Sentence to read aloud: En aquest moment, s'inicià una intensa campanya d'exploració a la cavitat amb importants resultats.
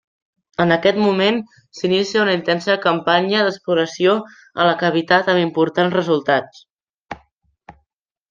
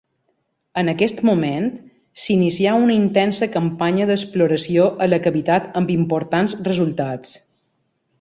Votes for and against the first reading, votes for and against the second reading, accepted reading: 0, 2, 2, 0, second